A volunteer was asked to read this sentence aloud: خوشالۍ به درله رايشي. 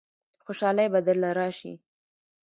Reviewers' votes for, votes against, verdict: 2, 1, accepted